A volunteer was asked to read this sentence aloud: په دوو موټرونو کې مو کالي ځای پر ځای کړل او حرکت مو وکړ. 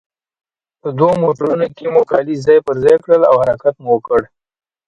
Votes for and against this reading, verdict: 2, 1, accepted